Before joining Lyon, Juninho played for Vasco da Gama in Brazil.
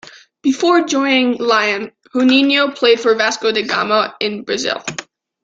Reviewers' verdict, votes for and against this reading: rejected, 1, 2